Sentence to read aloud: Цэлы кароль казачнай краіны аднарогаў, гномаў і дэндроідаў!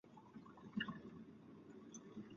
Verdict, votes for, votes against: rejected, 0, 2